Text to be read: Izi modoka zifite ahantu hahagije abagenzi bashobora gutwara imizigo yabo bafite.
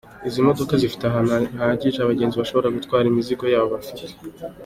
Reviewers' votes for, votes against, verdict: 2, 1, accepted